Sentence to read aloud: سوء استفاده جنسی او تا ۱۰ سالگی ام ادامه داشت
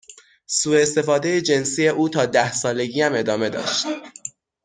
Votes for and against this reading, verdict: 0, 2, rejected